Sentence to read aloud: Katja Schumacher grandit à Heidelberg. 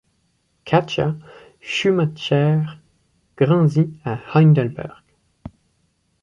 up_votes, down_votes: 1, 2